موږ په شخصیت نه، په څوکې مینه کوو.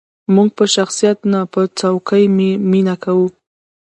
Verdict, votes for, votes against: rejected, 1, 2